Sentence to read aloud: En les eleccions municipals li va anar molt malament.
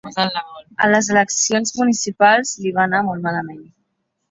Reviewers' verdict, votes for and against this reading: rejected, 0, 2